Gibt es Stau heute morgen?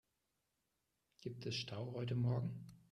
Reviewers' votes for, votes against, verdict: 3, 0, accepted